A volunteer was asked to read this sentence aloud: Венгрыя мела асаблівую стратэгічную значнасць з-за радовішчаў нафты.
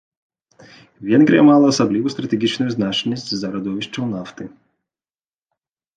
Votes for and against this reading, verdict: 0, 2, rejected